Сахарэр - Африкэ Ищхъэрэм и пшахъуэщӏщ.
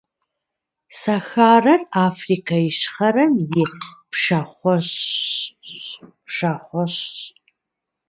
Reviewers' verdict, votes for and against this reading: rejected, 0, 2